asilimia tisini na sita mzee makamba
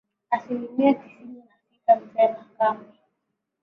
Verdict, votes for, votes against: accepted, 3, 0